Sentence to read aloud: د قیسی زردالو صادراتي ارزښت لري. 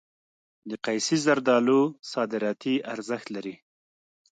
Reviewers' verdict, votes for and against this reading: accepted, 2, 0